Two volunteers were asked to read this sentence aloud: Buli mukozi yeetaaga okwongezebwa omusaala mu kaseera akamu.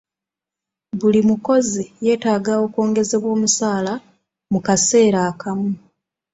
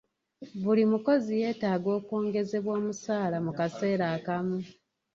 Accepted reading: first